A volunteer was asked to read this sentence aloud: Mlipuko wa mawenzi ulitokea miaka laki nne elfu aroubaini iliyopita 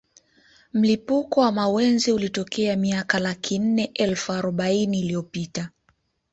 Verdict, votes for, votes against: accepted, 2, 0